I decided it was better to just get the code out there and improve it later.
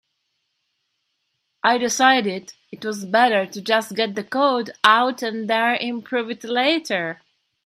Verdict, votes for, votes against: rejected, 2, 3